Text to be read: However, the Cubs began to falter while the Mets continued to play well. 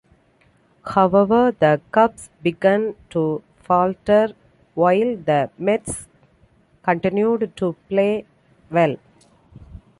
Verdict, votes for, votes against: accepted, 2, 0